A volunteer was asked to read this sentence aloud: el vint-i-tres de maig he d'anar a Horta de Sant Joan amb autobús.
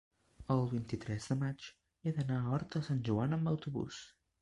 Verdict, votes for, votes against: rejected, 1, 2